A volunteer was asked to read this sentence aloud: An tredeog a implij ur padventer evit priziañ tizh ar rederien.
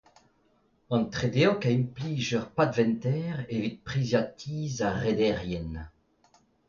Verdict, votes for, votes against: accepted, 2, 0